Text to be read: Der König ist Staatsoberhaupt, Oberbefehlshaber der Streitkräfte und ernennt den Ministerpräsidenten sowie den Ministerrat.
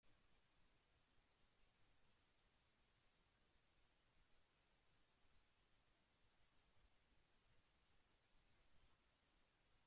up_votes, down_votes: 0, 2